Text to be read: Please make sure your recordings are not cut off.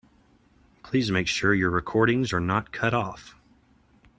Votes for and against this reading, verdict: 2, 0, accepted